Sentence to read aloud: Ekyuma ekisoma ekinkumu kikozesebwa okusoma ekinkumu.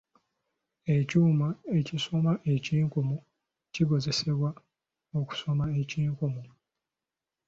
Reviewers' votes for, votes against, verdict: 2, 0, accepted